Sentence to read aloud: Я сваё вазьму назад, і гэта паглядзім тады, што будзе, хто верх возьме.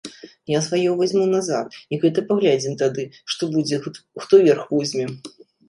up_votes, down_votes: 1, 2